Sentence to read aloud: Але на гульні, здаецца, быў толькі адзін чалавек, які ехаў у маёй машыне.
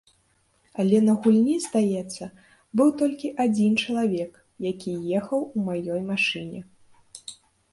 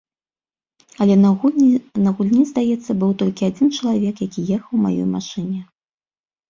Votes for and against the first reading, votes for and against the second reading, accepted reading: 3, 0, 1, 2, first